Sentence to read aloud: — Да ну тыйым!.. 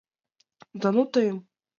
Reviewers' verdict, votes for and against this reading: accepted, 2, 0